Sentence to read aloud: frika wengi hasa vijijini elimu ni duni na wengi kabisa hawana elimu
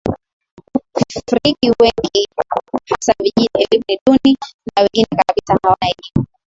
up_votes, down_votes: 5, 19